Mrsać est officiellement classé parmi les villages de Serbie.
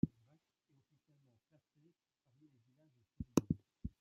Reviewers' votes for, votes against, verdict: 1, 2, rejected